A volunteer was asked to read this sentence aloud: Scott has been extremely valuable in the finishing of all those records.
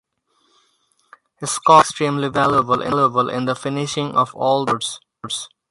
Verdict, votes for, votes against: rejected, 0, 4